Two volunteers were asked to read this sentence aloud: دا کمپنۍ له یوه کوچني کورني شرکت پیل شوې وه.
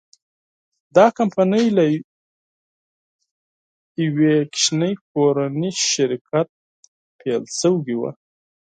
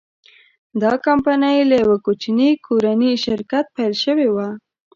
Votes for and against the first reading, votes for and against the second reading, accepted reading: 2, 4, 3, 0, second